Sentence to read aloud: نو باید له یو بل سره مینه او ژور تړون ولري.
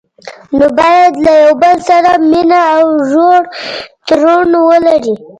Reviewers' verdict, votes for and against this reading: rejected, 1, 2